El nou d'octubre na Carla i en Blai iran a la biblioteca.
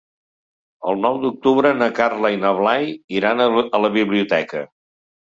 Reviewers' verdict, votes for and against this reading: rejected, 0, 2